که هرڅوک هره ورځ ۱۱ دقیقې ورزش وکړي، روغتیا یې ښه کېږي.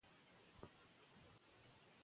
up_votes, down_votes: 0, 2